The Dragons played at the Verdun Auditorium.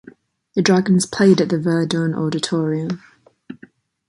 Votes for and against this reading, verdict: 2, 0, accepted